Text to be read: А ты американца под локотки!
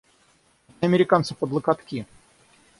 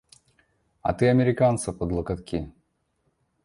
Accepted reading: second